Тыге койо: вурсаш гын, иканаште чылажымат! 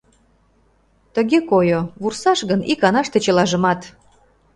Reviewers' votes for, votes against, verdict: 2, 0, accepted